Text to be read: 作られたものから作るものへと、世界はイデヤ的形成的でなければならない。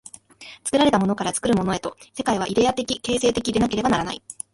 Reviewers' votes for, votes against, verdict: 2, 1, accepted